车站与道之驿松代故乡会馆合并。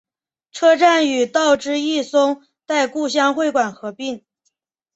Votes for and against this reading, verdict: 2, 0, accepted